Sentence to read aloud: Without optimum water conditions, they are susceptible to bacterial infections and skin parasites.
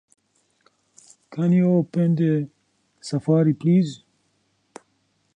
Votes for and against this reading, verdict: 0, 2, rejected